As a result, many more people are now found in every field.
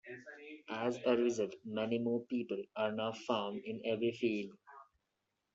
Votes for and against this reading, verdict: 0, 2, rejected